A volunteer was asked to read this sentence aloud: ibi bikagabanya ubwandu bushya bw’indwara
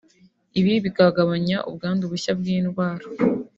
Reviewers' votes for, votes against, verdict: 2, 0, accepted